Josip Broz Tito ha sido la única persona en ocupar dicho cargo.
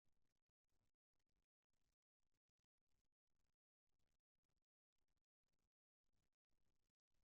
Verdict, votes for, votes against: rejected, 0, 2